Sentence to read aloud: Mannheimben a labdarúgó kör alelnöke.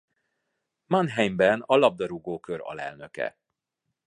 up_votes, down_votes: 2, 0